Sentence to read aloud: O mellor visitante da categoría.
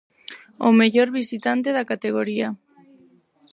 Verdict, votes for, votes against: rejected, 2, 4